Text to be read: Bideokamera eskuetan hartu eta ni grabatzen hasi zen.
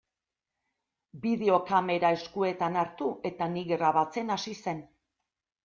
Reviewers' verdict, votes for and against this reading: accepted, 2, 0